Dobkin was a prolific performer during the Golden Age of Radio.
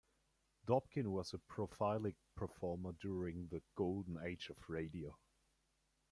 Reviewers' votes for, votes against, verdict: 1, 2, rejected